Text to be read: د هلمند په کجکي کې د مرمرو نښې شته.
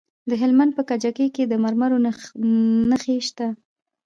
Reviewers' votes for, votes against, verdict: 2, 0, accepted